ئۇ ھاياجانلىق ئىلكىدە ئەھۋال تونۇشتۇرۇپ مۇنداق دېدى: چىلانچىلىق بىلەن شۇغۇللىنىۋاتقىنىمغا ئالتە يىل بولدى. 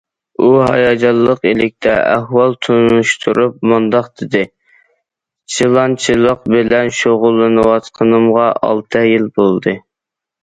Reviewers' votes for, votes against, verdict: 0, 2, rejected